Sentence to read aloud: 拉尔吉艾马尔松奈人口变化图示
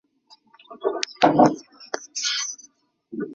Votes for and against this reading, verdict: 0, 5, rejected